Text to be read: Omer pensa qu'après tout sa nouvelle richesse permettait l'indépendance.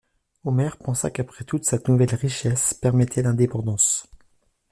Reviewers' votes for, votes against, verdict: 1, 2, rejected